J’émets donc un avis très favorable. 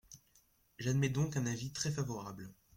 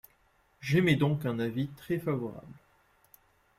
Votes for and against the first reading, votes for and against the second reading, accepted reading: 0, 2, 2, 0, second